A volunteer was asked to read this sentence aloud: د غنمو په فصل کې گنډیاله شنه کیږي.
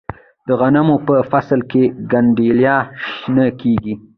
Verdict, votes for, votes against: accepted, 2, 0